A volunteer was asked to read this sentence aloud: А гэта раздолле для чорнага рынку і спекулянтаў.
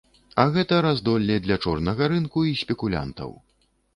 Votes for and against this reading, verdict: 1, 2, rejected